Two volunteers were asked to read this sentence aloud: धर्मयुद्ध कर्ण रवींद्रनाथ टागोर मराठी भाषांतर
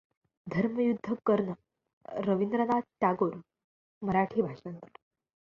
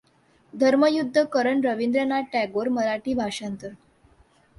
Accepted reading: second